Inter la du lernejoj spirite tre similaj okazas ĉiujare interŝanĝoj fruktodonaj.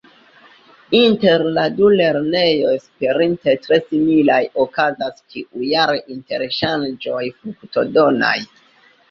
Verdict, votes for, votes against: rejected, 0, 2